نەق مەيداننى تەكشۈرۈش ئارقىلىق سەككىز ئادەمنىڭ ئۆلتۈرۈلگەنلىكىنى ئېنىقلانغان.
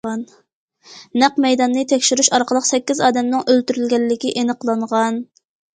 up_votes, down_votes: 0, 2